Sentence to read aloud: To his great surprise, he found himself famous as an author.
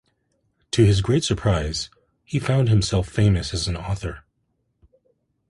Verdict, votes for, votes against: accepted, 2, 0